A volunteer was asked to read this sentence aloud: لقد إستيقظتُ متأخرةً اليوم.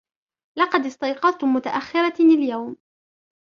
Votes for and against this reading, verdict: 1, 2, rejected